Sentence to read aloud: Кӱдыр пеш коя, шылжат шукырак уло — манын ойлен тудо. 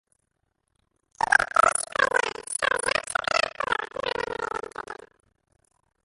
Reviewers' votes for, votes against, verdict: 0, 2, rejected